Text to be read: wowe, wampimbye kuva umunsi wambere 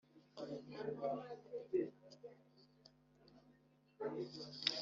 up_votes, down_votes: 1, 2